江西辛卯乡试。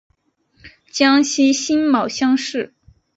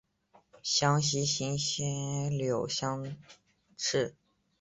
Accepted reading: first